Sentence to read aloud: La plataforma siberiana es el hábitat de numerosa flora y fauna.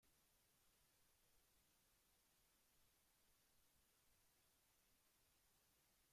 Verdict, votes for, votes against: rejected, 0, 2